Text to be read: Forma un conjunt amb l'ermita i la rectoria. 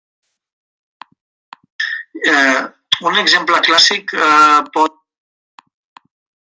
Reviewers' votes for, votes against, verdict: 0, 2, rejected